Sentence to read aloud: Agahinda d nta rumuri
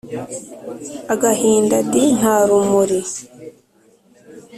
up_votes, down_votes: 2, 0